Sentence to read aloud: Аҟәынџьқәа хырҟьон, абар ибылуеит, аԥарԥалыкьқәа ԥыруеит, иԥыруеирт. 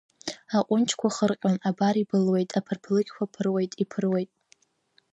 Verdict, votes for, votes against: rejected, 1, 2